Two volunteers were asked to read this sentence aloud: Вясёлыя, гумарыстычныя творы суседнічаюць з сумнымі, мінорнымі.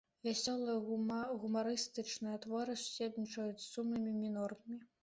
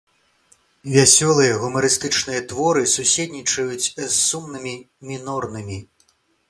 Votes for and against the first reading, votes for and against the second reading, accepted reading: 0, 2, 2, 0, second